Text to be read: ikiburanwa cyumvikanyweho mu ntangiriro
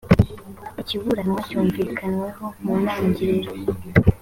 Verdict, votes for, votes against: accepted, 2, 0